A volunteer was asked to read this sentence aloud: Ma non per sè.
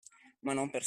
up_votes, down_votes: 0, 2